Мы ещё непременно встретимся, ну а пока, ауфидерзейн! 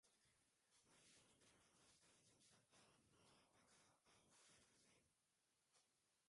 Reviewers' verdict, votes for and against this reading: rejected, 0, 2